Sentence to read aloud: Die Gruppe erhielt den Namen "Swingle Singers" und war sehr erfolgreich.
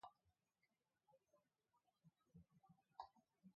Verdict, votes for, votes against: rejected, 0, 2